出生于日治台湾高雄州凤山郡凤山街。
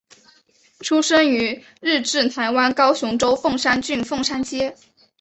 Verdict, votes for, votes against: accepted, 2, 0